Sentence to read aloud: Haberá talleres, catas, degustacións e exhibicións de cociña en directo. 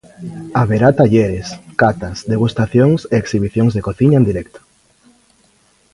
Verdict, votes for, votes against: rejected, 1, 2